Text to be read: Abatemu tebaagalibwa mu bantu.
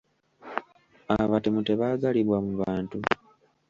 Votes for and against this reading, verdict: 2, 0, accepted